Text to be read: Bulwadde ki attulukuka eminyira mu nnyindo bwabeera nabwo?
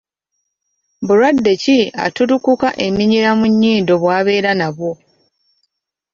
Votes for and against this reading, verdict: 2, 0, accepted